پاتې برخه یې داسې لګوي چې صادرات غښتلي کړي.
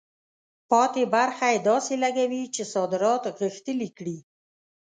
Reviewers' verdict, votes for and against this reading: accepted, 2, 0